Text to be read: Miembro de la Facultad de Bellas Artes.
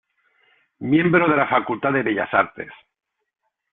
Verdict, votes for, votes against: accepted, 2, 0